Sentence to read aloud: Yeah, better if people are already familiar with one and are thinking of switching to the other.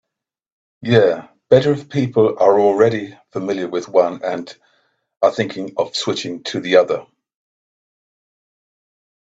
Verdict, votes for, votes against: accepted, 2, 0